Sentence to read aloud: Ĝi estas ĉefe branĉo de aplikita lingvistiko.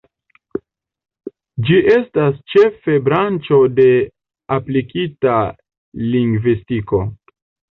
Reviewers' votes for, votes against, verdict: 1, 2, rejected